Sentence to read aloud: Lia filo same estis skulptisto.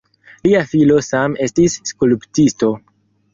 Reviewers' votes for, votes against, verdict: 2, 4, rejected